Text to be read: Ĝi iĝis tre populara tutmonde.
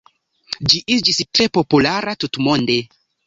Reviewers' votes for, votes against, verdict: 2, 0, accepted